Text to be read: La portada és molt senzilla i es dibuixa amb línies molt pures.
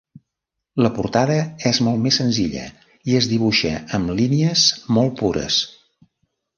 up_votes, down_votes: 0, 2